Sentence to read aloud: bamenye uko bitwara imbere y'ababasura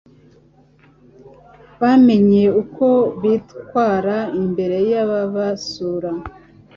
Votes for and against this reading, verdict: 2, 0, accepted